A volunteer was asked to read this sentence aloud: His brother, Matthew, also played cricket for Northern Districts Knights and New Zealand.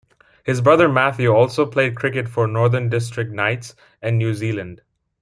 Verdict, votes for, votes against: rejected, 0, 2